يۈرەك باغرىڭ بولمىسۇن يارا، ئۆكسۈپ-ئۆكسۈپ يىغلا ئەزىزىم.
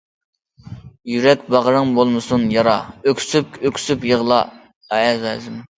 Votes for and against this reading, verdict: 0, 2, rejected